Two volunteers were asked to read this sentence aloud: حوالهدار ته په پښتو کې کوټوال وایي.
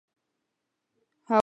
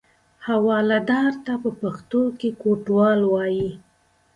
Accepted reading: second